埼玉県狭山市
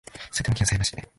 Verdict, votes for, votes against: rejected, 0, 3